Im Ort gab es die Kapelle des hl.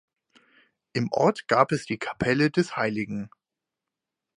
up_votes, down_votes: 4, 2